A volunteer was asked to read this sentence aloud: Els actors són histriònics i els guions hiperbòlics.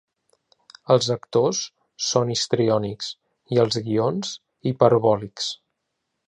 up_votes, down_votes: 2, 0